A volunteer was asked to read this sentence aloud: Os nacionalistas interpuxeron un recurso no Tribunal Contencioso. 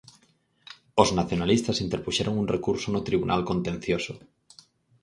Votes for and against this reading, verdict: 4, 0, accepted